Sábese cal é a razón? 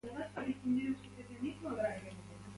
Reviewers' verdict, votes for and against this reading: rejected, 0, 2